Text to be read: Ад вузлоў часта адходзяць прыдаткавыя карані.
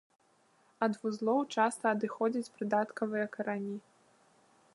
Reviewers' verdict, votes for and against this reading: rejected, 0, 2